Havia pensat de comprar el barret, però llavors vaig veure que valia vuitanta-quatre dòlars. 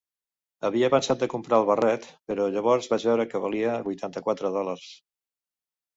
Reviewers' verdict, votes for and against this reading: accepted, 2, 0